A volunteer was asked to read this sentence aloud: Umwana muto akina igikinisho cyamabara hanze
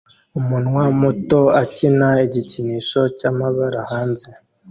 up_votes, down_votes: 1, 2